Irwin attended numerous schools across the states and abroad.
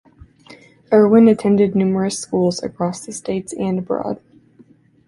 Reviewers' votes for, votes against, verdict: 2, 0, accepted